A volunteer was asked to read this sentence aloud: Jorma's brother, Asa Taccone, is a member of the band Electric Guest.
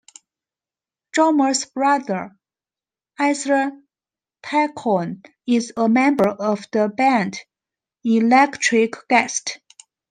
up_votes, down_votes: 2, 0